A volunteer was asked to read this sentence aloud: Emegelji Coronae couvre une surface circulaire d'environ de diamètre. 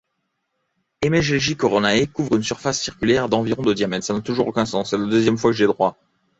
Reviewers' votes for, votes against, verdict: 0, 2, rejected